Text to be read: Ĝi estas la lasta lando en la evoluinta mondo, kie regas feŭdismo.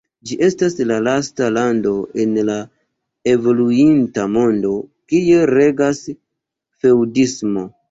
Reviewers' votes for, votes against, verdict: 2, 0, accepted